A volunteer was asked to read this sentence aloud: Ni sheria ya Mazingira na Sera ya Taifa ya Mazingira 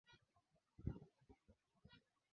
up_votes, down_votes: 0, 2